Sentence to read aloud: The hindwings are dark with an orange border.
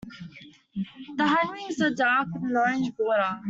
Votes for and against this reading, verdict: 2, 0, accepted